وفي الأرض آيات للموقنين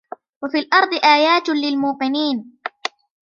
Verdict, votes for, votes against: rejected, 0, 2